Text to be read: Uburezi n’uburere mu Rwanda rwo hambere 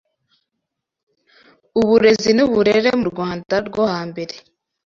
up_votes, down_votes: 2, 0